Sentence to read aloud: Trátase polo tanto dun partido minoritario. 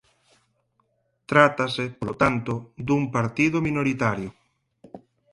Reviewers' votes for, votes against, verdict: 4, 2, accepted